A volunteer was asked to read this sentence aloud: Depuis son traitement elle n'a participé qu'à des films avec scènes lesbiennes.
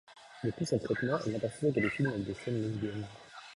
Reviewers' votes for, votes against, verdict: 1, 2, rejected